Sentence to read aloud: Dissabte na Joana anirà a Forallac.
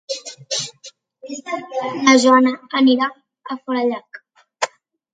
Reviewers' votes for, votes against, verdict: 0, 3, rejected